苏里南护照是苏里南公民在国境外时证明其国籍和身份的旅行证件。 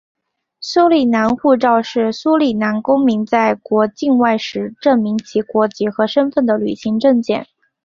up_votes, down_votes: 2, 0